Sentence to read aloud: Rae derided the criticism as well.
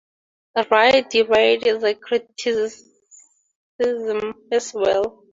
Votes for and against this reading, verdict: 0, 2, rejected